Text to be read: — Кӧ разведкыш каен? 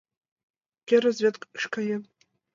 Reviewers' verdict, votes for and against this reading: rejected, 1, 2